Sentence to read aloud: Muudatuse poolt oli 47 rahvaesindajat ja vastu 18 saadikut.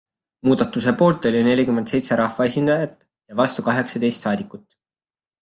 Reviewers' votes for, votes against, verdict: 0, 2, rejected